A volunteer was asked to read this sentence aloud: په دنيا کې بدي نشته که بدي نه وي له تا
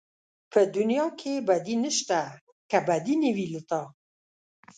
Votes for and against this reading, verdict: 2, 0, accepted